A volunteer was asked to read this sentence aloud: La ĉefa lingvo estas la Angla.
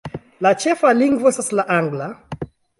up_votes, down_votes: 2, 1